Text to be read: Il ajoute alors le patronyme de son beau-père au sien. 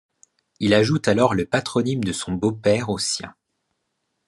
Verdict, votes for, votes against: accepted, 2, 0